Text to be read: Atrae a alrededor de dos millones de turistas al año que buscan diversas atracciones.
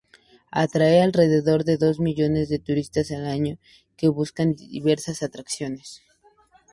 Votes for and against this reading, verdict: 2, 0, accepted